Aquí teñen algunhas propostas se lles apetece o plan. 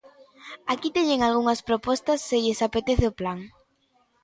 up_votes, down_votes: 2, 0